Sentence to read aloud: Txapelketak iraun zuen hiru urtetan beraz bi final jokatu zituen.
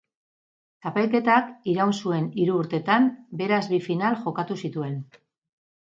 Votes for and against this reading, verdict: 2, 0, accepted